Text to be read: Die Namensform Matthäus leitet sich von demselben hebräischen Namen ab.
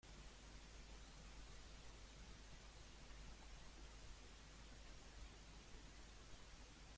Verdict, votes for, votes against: rejected, 0, 2